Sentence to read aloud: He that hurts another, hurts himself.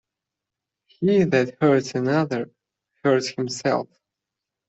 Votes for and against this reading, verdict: 0, 2, rejected